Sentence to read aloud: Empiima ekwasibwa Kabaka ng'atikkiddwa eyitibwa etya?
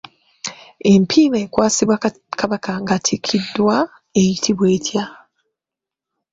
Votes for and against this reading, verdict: 0, 2, rejected